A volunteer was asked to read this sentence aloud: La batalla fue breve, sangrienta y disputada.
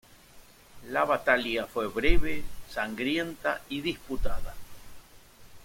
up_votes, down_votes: 1, 2